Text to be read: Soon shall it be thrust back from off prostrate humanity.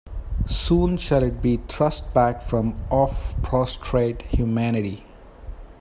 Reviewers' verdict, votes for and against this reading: accepted, 2, 0